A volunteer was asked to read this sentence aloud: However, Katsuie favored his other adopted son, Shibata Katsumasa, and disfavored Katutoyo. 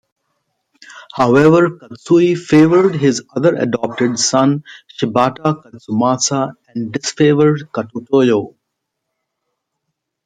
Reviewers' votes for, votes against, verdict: 1, 2, rejected